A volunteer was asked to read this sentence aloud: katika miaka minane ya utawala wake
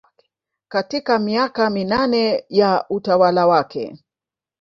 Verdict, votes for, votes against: rejected, 0, 2